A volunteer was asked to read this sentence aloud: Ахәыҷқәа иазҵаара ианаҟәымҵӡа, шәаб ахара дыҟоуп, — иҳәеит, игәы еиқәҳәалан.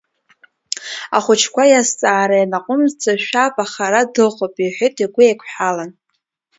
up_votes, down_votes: 0, 2